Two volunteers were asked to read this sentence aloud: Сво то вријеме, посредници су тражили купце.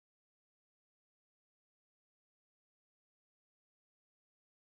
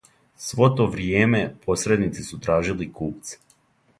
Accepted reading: second